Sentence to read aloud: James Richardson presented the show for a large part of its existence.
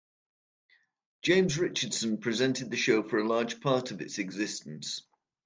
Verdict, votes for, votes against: accepted, 2, 1